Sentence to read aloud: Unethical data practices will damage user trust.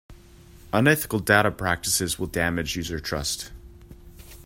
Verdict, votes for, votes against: accepted, 2, 0